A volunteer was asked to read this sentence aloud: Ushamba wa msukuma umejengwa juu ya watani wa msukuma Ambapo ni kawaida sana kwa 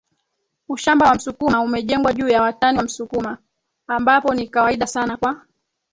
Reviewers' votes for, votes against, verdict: 1, 3, rejected